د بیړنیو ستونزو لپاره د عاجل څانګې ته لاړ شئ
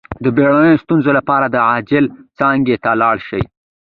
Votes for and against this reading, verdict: 2, 1, accepted